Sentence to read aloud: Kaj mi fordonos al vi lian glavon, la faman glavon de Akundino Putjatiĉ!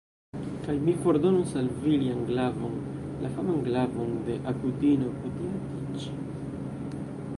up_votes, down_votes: 0, 2